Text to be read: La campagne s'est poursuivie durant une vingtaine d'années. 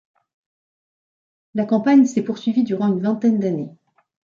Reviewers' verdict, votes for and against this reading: accepted, 2, 0